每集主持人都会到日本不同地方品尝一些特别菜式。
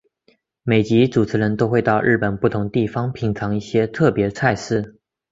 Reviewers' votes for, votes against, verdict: 4, 0, accepted